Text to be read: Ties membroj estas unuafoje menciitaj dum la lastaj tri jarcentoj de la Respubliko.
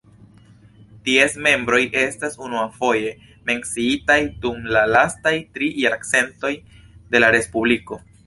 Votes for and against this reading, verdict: 2, 0, accepted